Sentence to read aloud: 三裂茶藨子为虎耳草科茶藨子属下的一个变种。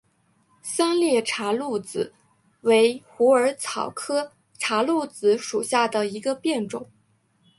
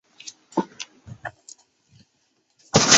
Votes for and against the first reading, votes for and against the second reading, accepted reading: 3, 0, 0, 2, first